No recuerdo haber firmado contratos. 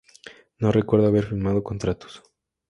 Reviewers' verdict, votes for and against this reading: accepted, 4, 0